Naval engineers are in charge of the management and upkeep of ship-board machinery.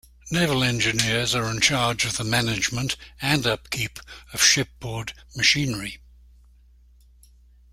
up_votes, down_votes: 2, 0